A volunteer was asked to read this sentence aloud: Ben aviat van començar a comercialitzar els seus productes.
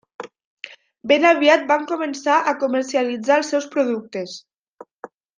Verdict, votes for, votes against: accepted, 3, 0